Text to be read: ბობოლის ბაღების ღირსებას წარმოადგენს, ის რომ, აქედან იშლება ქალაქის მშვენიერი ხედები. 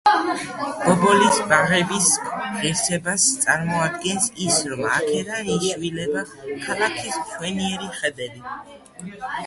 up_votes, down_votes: 0, 2